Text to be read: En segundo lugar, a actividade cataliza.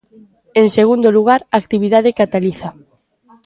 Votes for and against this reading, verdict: 2, 0, accepted